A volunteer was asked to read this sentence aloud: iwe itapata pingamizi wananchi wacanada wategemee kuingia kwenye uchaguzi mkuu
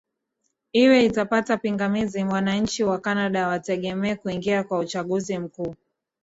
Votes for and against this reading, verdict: 8, 1, accepted